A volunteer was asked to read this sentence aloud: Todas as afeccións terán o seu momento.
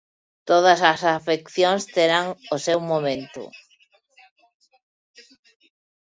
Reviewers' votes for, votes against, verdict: 1, 2, rejected